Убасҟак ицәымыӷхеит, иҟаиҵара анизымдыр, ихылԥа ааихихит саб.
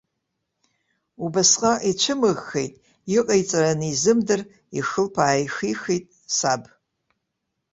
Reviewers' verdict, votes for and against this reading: accepted, 2, 0